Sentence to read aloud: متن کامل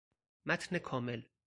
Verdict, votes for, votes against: accepted, 4, 0